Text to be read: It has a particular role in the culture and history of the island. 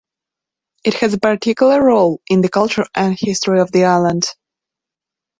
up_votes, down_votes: 2, 0